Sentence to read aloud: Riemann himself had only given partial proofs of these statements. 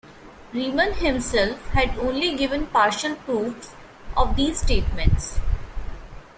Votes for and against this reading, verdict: 2, 0, accepted